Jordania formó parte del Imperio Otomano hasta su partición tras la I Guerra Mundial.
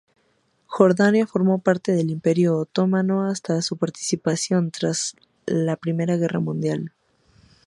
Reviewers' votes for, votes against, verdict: 0, 2, rejected